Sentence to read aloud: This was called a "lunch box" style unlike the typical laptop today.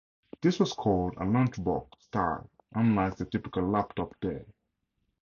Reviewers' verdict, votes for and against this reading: rejected, 0, 2